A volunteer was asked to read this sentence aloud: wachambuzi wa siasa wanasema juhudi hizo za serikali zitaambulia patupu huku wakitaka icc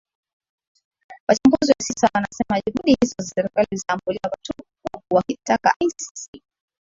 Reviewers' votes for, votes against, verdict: 1, 2, rejected